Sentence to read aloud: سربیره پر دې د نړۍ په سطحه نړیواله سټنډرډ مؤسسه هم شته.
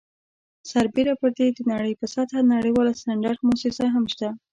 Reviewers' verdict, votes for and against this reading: rejected, 0, 2